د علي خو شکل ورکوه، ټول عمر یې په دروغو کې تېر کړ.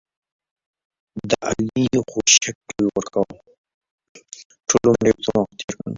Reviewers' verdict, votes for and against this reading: rejected, 0, 2